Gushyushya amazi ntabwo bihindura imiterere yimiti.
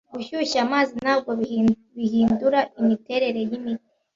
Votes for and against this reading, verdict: 1, 2, rejected